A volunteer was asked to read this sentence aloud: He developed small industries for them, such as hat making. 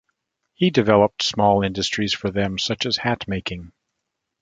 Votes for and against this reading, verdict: 2, 0, accepted